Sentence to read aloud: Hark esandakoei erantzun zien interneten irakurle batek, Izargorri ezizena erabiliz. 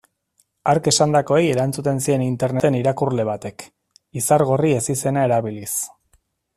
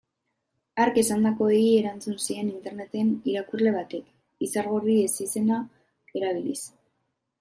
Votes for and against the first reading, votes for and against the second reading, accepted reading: 0, 2, 3, 0, second